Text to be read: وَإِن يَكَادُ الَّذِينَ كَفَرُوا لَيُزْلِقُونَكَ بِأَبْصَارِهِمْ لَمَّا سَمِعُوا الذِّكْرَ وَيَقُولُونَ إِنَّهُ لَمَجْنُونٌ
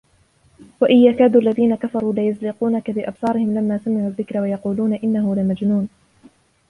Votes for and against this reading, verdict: 2, 1, accepted